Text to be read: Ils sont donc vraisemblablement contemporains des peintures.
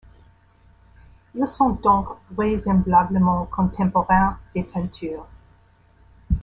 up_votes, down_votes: 2, 3